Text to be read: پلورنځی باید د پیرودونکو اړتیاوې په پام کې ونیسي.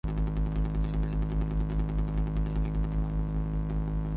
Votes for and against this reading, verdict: 0, 3, rejected